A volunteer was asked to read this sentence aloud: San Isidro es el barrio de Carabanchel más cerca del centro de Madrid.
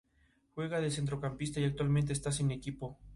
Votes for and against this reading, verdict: 0, 2, rejected